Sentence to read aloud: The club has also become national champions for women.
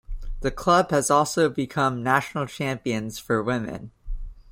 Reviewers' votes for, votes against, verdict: 2, 0, accepted